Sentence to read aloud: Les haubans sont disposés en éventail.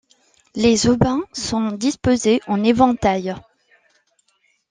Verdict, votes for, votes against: rejected, 0, 2